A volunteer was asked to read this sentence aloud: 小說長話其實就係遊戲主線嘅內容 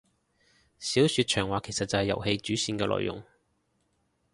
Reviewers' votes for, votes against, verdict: 2, 0, accepted